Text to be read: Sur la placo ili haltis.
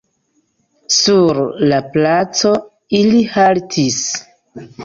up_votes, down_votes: 2, 0